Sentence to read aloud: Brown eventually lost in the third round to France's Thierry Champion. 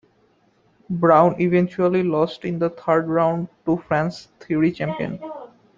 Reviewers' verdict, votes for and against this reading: rejected, 1, 2